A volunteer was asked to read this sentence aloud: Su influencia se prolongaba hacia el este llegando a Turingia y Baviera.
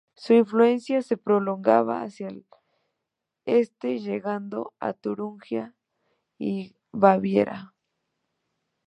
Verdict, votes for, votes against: rejected, 0, 2